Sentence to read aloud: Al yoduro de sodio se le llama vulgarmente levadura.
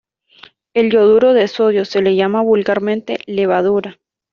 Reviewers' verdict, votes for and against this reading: rejected, 0, 2